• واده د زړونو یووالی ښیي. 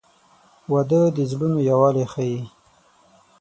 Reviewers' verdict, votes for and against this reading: rejected, 3, 6